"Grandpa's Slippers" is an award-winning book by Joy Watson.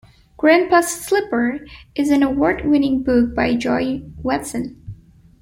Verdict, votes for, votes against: rejected, 1, 2